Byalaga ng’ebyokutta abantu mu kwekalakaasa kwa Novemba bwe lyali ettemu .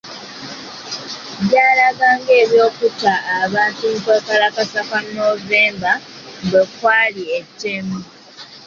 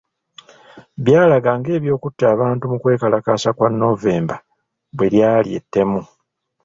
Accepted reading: second